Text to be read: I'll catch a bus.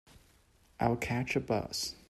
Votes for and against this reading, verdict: 2, 0, accepted